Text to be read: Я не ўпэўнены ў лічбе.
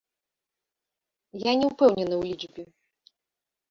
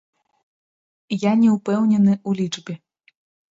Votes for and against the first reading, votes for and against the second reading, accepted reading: 2, 1, 1, 2, first